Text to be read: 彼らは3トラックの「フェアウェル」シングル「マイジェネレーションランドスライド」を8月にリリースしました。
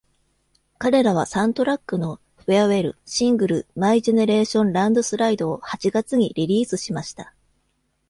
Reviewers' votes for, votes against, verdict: 0, 2, rejected